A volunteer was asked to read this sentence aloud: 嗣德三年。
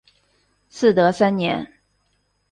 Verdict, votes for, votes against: accepted, 2, 0